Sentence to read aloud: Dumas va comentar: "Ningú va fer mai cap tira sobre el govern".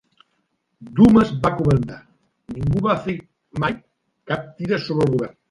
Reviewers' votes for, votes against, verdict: 0, 2, rejected